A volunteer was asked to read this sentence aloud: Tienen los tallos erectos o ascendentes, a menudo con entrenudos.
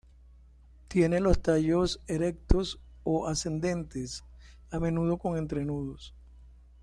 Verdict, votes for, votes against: rejected, 1, 2